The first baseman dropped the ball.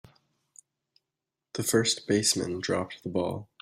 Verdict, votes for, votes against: accepted, 3, 0